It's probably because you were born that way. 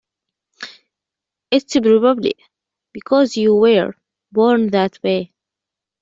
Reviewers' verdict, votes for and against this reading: accepted, 2, 1